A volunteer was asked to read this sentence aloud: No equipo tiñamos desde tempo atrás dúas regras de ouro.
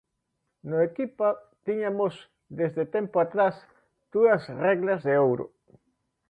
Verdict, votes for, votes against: rejected, 0, 2